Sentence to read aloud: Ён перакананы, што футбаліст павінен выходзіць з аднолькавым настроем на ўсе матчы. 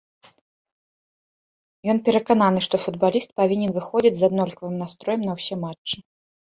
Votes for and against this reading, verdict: 2, 0, accepted